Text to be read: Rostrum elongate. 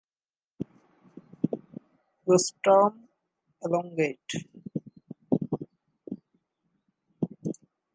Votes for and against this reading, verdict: 2, 1, accepted